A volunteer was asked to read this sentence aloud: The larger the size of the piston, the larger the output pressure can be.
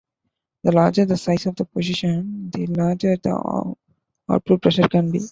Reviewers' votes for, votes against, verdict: 0, 2, rejected